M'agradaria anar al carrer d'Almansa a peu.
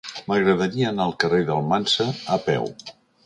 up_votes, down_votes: 2, 0